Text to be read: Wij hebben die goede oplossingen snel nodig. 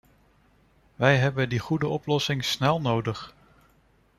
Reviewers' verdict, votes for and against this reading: rejected, 1, 2